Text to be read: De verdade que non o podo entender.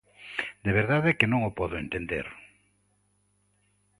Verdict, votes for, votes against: accepted, 2, 0